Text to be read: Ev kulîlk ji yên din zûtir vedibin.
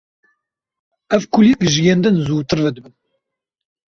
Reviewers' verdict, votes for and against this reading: accepted, 2, 1